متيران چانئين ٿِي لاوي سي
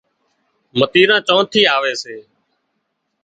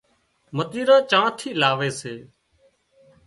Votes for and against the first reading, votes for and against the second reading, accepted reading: 0, 2, 2, 0, second